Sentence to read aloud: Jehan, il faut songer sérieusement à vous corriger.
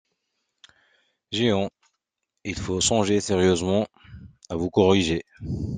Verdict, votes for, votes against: accepted, 2, 0